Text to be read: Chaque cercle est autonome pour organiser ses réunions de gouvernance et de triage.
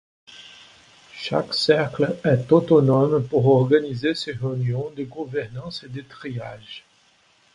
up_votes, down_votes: 2, 0